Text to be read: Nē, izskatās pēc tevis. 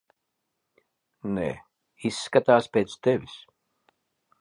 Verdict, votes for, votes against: accepted, 2, 0